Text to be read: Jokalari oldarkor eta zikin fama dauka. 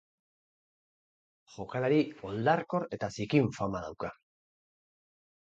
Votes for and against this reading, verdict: 4, 0, accepted